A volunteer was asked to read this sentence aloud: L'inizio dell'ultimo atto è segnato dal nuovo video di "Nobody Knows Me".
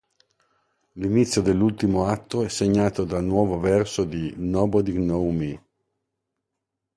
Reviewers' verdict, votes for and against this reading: rejected, 1, 2